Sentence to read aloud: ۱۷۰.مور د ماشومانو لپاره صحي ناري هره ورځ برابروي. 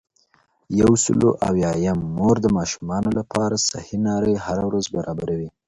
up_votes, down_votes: 0, 2